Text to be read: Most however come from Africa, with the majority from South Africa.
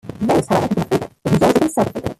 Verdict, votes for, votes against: rejected, 1, 2